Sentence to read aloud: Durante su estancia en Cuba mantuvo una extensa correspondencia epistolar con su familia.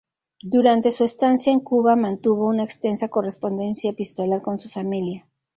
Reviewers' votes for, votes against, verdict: 2, 0, accepted